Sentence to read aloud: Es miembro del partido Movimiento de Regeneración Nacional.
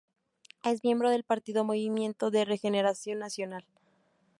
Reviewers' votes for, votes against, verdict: 2, 0, accepted